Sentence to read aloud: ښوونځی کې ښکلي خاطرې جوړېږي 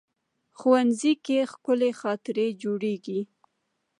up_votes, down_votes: 1, 2